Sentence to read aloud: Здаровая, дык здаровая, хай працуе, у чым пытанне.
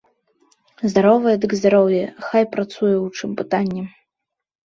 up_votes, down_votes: 1, 2